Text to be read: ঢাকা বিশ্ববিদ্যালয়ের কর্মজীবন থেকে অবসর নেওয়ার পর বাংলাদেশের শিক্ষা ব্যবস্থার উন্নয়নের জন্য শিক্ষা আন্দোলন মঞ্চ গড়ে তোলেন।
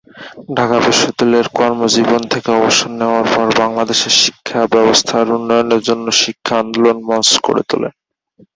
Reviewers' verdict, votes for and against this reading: rejected, 2, 2